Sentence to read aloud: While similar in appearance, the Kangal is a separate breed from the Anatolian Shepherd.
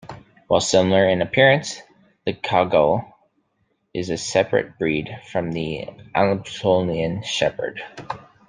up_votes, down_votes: 1, 2